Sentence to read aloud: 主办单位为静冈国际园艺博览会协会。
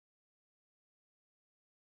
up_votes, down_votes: 0, 2